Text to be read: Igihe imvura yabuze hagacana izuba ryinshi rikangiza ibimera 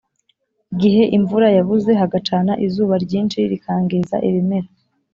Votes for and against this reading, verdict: 4, 0, accepted